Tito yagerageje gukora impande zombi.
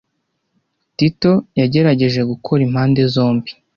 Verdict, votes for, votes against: accepted, 2, 0